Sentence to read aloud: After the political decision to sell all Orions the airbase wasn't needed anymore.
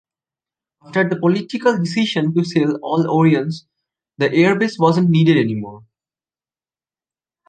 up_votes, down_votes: 2, 0